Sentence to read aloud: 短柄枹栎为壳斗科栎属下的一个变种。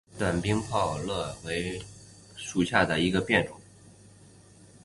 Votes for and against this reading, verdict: 0, 2, rejected